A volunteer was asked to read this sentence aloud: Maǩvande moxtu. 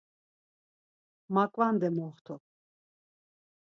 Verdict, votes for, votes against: accepted, 4, 0